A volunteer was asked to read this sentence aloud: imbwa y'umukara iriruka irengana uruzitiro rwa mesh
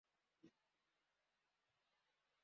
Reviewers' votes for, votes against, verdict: 0, 2, rejected